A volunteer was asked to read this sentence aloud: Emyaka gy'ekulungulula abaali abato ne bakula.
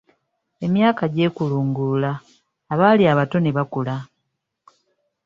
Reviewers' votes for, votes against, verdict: 3, 0, accepted